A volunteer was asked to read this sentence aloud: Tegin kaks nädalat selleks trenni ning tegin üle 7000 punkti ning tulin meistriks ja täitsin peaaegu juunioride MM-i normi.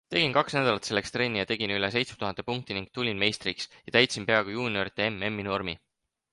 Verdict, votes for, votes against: rejected, 0, 2